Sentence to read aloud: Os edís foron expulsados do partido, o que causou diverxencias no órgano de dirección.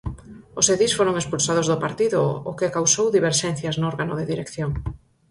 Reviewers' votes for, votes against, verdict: 4, 0, accepted